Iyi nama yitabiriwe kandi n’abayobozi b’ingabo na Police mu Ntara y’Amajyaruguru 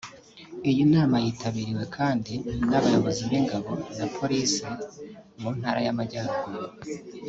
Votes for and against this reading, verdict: 1, 2, rejected